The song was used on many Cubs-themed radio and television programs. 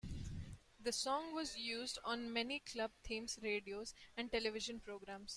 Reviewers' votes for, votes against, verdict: 1, 2, rejected